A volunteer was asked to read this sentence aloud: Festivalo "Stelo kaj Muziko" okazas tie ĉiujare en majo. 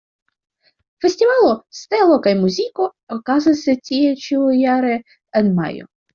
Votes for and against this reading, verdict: 1, 2, rejected